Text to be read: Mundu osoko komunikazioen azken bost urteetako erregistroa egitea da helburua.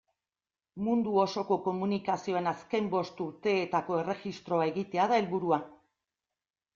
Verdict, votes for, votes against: accepted, 2, 0